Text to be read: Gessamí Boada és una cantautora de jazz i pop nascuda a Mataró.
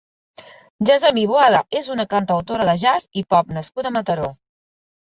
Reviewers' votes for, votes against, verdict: 2, 0, accepted